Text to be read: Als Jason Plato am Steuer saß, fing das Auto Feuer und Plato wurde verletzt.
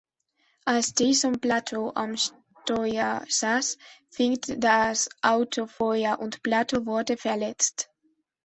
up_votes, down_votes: 2, 1